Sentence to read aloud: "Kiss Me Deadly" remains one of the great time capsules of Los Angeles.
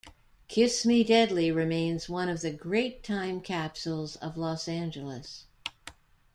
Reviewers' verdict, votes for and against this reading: accepted, 2, 0